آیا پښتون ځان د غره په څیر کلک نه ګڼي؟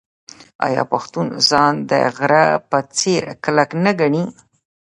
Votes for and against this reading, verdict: 1, 2, rejected